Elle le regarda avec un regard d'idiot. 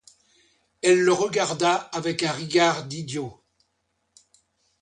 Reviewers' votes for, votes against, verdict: 1, 2, rejected